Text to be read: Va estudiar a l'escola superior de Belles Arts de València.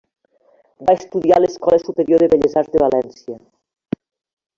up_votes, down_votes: 1, 2